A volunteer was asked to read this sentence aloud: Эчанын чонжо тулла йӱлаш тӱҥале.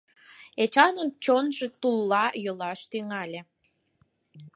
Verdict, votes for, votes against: accepted, 12, 0